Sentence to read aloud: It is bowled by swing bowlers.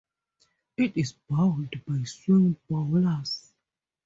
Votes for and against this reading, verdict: 2, 0, accepted